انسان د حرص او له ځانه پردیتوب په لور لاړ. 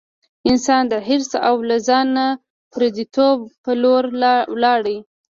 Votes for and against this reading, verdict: 2, 0, accepted